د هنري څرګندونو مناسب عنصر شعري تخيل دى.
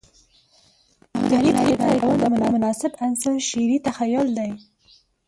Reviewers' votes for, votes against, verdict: 2, 4, rejected